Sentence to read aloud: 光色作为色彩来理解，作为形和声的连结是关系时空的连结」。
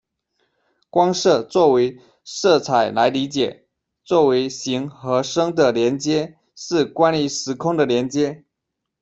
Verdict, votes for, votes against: rejected, 0, 2